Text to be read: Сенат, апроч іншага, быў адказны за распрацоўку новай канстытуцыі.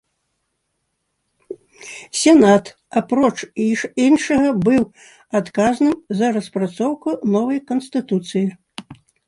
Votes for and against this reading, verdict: 1, 2, rejected